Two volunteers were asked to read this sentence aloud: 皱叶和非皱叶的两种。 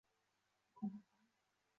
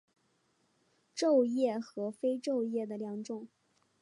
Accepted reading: second